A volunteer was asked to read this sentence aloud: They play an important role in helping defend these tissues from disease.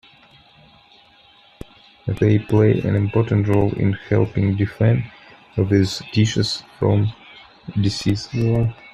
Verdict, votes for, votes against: rejected, 0, 2